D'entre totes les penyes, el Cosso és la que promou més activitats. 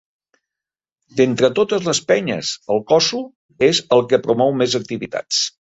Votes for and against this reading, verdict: 0, 2, rejected